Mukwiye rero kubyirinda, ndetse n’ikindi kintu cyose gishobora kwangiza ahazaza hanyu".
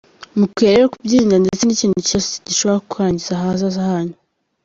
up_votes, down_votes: 2, 0